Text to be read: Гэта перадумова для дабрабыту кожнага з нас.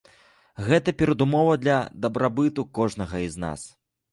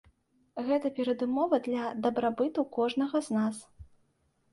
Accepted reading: second